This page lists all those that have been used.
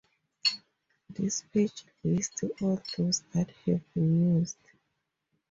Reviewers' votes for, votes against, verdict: 2, 0, accepted